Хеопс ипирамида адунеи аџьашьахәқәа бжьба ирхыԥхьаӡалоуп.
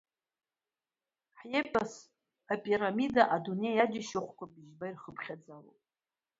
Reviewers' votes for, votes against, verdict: 2, 0, accepted